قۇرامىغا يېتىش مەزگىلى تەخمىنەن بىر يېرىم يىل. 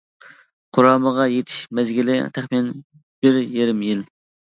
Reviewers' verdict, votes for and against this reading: accepted, 2, 0